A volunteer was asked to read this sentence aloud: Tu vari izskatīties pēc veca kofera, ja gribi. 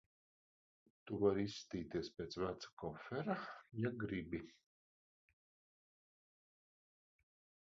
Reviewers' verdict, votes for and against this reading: rejected, 1, 2